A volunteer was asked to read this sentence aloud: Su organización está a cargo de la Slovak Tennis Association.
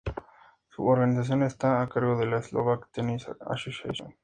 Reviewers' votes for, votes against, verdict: 4, 0, accepted